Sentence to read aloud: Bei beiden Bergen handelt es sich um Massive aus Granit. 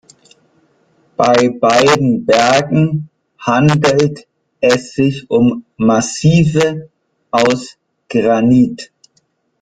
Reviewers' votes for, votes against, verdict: 0, 2, rejected